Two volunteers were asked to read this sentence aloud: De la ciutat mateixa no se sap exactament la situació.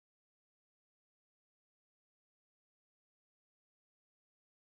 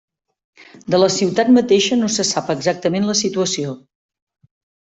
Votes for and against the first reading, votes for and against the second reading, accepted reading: 0, 2, 3, 0, second